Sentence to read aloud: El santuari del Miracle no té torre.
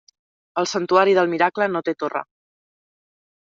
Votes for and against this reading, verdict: 2, 0, accepted